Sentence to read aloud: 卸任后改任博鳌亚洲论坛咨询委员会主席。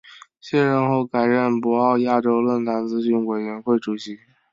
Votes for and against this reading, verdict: 3, 1, accepted